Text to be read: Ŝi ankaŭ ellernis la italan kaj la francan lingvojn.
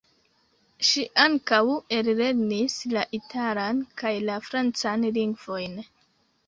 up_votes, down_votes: 2, 0